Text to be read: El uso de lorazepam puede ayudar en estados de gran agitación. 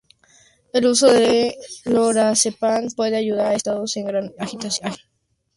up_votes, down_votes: 0, 2